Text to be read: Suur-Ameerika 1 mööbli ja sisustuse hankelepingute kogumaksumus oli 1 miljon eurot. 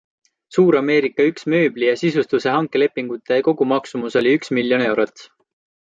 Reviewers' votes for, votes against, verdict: 0, 2, rejected